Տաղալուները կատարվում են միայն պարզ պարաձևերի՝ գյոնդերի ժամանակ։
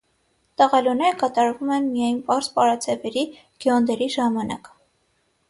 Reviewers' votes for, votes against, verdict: 0, 3, rejected